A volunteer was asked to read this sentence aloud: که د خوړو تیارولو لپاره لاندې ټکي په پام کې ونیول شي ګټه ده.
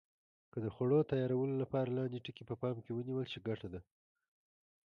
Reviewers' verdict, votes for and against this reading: rejected, 1, 2